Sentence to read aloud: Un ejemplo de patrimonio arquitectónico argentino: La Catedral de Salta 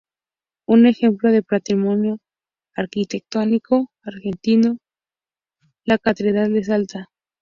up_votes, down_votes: 2, 0